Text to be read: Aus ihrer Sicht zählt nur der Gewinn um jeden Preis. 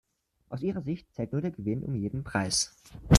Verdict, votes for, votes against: accepted, 2, 1